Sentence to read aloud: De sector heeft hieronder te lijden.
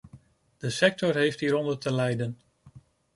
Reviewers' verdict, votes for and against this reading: accepted, 2, 0